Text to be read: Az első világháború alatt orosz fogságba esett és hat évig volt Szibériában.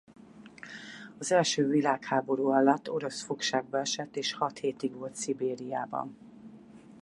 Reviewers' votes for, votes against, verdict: 0, 4, rejected